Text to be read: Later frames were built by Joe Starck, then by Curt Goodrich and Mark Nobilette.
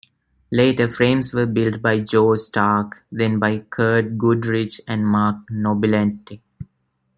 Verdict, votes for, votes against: rejected, 0, 2